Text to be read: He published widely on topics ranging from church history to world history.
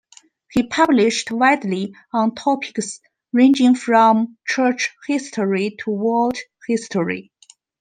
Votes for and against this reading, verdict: 2, 1, accepted